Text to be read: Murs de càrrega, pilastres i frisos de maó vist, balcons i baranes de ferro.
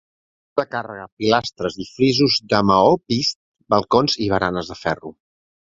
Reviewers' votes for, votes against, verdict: 0, 2, rejected